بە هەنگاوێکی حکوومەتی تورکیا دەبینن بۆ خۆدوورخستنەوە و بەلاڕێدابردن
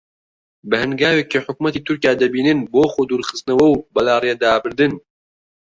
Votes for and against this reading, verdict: 2, 0, accepted